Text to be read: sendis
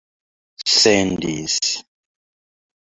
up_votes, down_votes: 2, 1